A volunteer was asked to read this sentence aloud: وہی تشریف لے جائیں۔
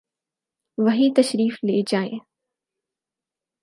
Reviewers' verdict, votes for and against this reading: accepted, 4, 0